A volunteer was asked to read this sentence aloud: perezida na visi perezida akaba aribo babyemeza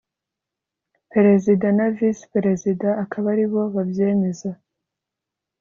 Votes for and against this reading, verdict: 2, 0, accepted